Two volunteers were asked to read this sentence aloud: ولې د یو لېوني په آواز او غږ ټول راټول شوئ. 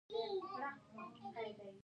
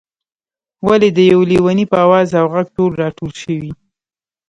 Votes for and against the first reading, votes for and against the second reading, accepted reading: 1, 2, 2, 0, second